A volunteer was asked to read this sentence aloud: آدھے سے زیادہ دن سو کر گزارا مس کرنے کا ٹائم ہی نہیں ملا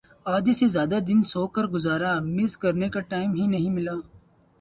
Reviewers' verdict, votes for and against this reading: accepted, 4, 0